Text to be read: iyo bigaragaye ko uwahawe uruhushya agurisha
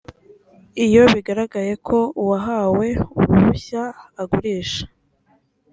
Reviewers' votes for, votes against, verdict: 2, 0, accepted